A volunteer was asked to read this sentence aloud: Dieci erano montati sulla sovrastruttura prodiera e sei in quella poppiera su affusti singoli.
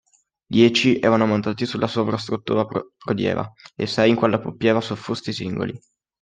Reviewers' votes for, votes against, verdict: 0, 2, rejected